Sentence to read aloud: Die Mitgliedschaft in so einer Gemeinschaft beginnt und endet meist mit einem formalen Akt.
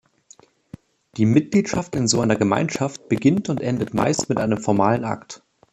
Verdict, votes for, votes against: accepted, 2, 1